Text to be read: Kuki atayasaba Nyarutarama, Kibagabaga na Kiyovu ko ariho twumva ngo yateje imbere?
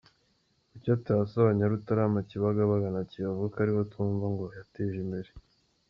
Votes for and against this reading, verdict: 2, 1, accepted